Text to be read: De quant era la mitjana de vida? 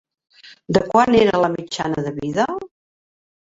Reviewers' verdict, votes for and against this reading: rejected, 1, 2